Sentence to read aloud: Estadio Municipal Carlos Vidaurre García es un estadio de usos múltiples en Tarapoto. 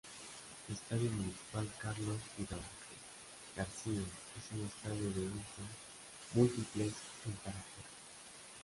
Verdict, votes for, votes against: rejected, 0, 2